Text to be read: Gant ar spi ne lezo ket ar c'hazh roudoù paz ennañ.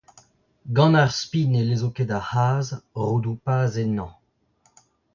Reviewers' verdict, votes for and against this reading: rejected, 0, 2